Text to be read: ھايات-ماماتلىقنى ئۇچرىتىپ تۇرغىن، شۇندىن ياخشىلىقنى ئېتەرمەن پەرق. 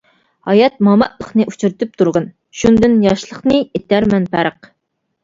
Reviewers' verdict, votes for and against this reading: rejected, 1, 2